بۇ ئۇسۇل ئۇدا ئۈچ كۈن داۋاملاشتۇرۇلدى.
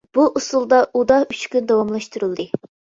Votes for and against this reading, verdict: 0, 2, rejected